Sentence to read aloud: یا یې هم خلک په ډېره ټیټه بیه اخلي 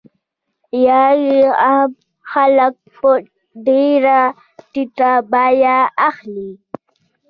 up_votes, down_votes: 1, 2